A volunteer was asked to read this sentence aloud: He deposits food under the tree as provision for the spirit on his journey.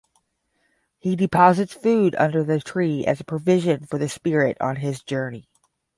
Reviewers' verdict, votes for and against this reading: accepted, 10, 0